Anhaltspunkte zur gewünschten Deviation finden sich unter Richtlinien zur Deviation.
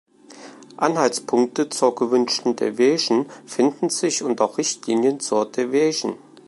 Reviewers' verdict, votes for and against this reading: rejected, 0, 2